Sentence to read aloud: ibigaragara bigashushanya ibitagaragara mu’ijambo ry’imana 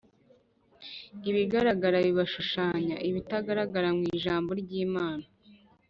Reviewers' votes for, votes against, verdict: 1, 2, rejected